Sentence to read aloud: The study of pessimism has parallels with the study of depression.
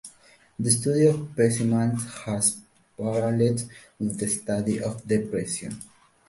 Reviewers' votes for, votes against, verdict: 1, 2, rejected